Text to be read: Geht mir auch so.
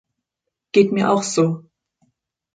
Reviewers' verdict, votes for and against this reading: accepted, 2, 0